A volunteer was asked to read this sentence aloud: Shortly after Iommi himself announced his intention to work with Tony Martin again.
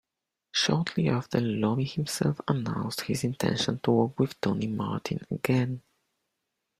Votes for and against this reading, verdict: 2, 1, accepted